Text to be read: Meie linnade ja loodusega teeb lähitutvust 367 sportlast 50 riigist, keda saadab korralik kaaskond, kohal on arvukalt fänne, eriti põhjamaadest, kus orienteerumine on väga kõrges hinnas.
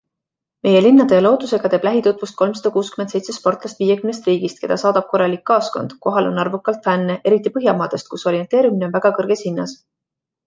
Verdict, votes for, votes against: rejected, 0, 2